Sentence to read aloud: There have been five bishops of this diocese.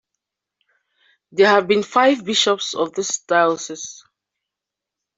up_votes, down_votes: 2, 1